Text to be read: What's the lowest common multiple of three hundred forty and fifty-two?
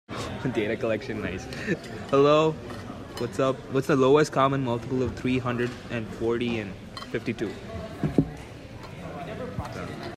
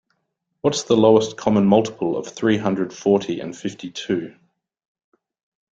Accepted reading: second